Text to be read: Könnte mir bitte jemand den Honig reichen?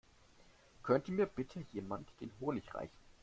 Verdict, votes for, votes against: accepted, 2, 0